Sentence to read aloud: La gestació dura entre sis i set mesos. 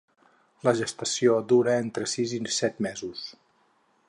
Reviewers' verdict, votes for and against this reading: accepted, 6, 0